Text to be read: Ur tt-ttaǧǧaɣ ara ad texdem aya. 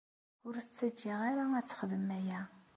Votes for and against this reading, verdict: 2, 0, accepted